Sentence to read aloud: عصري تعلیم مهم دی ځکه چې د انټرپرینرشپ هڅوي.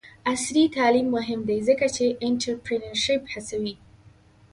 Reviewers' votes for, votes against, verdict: 0, 2, rejected